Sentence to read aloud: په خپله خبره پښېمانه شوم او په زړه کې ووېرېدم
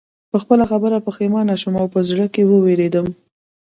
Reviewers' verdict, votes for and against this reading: rejected, 1, 2